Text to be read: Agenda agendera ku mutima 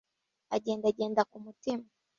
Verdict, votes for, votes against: rejected, 0, 2